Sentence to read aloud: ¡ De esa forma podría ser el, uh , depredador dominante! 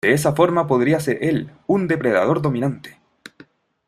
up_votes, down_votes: 0, 2